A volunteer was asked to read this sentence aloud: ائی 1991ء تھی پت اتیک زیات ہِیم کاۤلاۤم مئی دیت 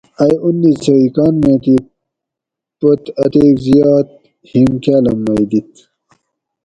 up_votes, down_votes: 0, 2